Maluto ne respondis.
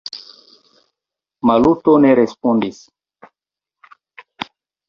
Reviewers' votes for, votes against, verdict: 1, 2, rejected